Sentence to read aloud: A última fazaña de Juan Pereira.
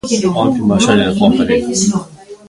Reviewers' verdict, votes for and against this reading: rejected, 0, 2